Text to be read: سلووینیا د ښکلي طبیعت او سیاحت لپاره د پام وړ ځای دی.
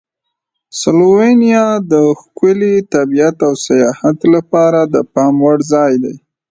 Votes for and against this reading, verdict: 2, 0, accepted